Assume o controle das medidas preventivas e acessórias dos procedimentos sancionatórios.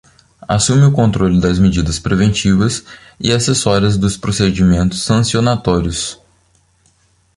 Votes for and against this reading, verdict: 2, 0, accepted